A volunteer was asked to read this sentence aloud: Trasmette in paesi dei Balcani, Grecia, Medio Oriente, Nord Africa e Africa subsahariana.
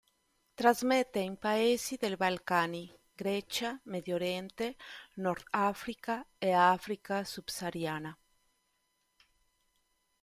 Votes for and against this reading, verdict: 2, 0, accepted